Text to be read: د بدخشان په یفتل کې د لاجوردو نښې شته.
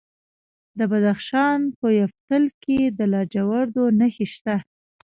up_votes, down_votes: 2, 0